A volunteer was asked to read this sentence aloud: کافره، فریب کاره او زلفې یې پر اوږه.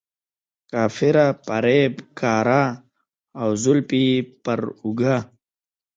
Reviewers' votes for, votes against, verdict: 1, 2, rejected